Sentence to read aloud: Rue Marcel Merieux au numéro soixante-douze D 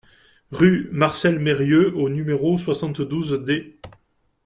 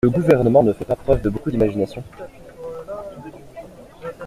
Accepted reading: first